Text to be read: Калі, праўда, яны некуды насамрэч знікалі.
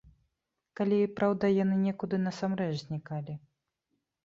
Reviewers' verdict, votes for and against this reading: accepted, 2, 0